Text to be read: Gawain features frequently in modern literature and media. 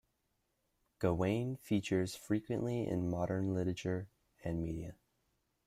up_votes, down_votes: 2, 0